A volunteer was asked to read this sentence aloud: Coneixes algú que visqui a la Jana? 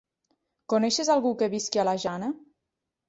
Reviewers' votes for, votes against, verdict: 3, 1, accepted